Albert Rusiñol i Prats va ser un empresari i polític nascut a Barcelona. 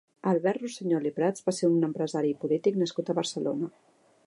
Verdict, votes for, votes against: accepted, 3, 1